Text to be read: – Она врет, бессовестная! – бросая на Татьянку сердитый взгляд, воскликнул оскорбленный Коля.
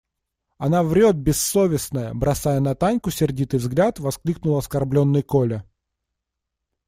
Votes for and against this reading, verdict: 0, 2, rejected